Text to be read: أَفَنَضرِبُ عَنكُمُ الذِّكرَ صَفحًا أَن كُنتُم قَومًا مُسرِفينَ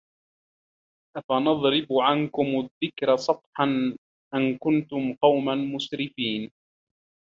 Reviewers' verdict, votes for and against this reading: rejected, 1, 2